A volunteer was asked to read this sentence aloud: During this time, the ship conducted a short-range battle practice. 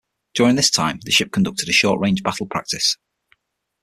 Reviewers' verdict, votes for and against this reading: rejected, 3, 6